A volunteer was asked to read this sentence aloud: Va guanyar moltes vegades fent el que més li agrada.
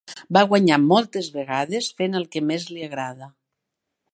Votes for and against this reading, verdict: 3, 0, accepted